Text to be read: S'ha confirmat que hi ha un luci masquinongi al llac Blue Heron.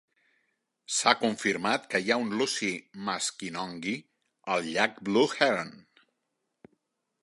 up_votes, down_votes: 1, 2